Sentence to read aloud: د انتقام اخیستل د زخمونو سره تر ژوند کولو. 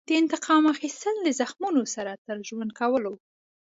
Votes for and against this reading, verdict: 2, 0, accepted